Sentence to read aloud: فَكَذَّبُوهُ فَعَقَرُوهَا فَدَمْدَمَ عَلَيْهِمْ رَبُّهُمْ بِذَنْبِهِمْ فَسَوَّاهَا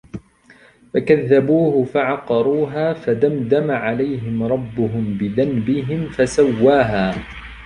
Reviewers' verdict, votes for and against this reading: accepted, 2, 1